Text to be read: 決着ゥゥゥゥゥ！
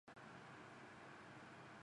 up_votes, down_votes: 0, 2